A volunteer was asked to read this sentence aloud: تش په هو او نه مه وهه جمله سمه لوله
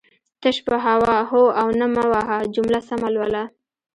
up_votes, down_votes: 1, 2